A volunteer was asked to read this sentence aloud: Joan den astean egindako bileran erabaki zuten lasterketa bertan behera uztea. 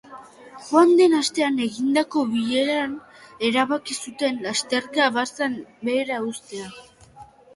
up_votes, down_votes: 0, 2